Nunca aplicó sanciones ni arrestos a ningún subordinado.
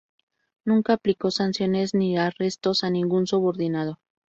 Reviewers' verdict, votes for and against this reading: accepted, 2, 0